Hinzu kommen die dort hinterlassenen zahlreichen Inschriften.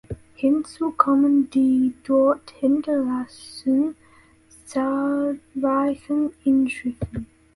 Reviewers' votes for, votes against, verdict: 0, 2, rejected